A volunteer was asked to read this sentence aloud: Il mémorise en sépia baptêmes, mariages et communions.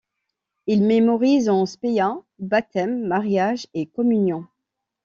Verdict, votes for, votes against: rejected, 1, 2